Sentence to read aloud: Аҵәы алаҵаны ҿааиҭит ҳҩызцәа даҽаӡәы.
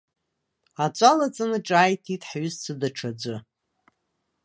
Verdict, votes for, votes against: accepted, 2, 0